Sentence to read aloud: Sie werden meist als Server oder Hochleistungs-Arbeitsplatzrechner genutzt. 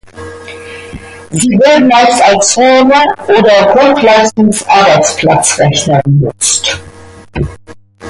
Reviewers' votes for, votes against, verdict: 0, 2, rejected